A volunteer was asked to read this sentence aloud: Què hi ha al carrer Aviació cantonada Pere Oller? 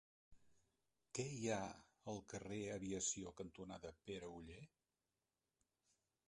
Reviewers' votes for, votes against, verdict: 1, 2, rejected